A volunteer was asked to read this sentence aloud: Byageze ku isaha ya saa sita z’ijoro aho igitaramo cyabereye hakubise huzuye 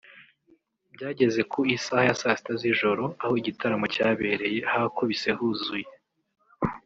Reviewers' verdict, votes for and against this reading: rejected, 1, 2